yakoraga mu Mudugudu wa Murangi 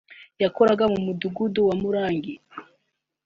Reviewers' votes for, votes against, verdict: 2, 0, accepted